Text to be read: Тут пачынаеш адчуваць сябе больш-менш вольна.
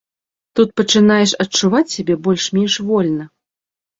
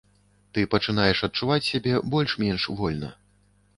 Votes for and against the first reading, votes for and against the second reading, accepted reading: 2, 0, 1, 2, first